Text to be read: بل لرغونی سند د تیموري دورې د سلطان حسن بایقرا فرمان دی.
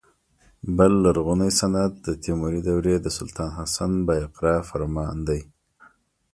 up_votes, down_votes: 3, 0